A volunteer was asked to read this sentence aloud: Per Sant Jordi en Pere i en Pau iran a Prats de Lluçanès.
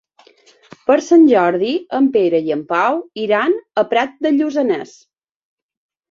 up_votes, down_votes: 1, 2